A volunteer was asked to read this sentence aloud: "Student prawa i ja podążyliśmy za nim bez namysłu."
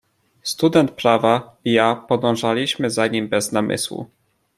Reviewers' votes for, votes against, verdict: 2, 0, accepted